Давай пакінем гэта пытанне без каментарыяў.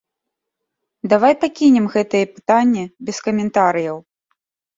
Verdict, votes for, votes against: rejected, 1, 2